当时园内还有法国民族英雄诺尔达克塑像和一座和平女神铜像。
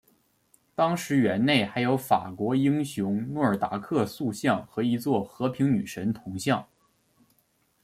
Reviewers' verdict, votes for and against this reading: accepted, 2, 1